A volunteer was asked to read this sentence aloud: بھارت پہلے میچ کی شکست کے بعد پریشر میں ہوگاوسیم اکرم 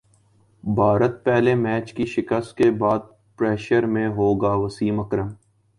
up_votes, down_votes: 2, 0